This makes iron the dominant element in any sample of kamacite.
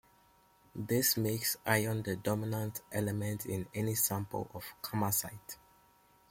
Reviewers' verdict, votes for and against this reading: accepted, 2, 0